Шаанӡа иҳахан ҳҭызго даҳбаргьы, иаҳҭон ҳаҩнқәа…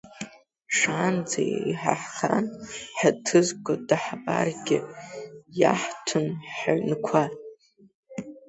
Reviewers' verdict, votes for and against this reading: rejected, 1, 2